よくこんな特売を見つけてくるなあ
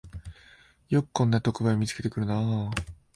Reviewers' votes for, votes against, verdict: 4, 0, accepted